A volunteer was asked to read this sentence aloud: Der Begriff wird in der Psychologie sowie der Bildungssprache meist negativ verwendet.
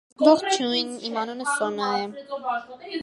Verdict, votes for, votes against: rejected, 0, 2